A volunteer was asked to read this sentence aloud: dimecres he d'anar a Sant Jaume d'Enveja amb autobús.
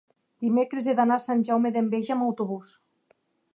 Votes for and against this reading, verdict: 3, 0, accepted